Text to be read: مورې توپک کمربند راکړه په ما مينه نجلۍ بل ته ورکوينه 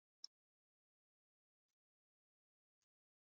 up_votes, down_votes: 0, 2